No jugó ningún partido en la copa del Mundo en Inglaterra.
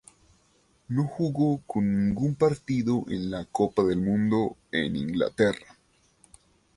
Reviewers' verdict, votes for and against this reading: rejected, 0, 2